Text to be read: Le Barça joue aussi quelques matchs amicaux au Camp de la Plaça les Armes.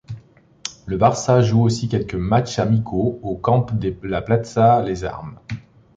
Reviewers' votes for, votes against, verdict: 0, 2, rejected